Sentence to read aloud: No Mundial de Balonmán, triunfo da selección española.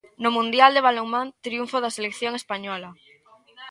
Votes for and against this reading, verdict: 1, 2, rejected